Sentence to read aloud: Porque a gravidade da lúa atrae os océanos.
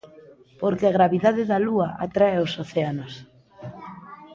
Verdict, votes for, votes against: rejected, 0, 2